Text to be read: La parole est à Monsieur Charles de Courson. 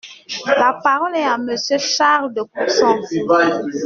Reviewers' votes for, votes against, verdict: 2, 0, accepted